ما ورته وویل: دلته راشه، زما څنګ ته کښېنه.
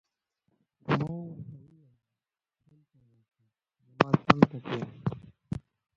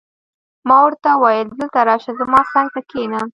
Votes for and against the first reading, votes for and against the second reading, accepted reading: 1, 2, 2, 0, second